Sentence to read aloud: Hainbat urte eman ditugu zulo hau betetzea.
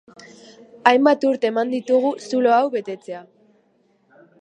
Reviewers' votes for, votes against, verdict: 2, 0, accepted